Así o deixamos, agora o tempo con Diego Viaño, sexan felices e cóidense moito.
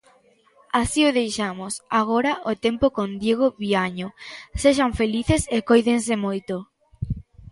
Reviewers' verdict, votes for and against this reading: accepted, 2, 0